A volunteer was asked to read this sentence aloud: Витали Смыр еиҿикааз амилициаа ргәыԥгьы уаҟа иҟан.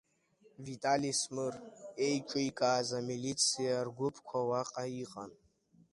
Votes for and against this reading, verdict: 0, 2, rejected